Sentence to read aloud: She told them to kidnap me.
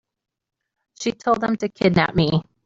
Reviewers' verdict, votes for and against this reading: accepted, 2, 0